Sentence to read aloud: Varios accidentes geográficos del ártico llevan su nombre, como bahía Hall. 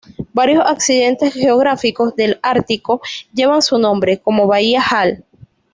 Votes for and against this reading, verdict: 2, 0, accepted